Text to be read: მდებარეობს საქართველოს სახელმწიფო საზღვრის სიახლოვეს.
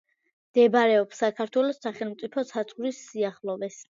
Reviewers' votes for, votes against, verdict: 2, 0, accepted